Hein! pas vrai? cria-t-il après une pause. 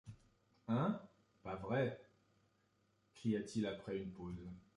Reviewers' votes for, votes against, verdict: 3, 1, accepted